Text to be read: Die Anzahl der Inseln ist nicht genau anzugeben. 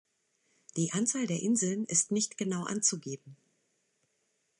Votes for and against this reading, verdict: 2, 0, accepted